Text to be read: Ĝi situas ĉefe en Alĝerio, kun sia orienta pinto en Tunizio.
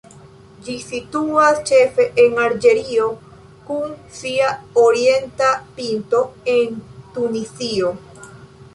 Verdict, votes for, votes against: accepted, 2, 0